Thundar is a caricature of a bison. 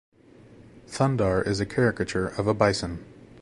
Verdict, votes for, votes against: accepted, 2, 0